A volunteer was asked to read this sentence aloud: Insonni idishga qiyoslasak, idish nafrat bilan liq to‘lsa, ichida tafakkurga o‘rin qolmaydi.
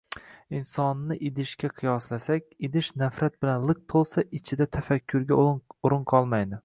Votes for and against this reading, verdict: 2, 0, accepted